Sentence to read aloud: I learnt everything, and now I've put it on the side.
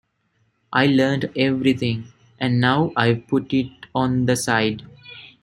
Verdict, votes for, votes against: accepted, 2, 0